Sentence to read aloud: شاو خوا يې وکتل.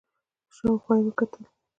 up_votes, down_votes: 1, 2